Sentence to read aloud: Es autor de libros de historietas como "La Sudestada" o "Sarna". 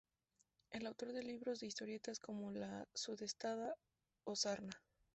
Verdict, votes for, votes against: rejected, 0, 2